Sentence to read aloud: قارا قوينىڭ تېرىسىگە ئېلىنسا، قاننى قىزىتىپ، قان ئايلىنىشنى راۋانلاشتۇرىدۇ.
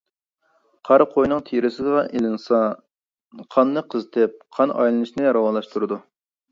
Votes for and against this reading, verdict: 1, 2, rejected